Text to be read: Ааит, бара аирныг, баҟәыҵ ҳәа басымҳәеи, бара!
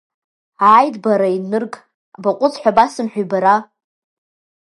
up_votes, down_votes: 0, 2